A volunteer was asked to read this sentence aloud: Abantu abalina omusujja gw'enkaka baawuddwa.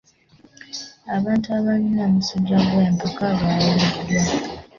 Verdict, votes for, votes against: accepted, 2, 1